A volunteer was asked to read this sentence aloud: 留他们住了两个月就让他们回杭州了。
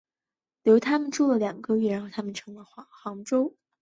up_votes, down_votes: 0, 2